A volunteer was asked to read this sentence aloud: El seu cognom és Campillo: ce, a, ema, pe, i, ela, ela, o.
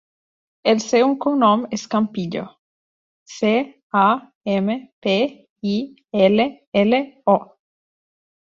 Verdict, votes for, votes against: rejected, 0, 2